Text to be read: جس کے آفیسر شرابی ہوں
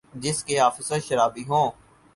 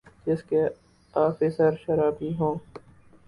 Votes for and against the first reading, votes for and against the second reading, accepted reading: 4, 0, 0, 2, first